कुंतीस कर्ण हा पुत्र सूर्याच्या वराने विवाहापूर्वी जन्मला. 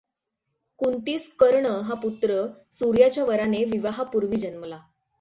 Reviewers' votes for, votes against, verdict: 6, 3, accepted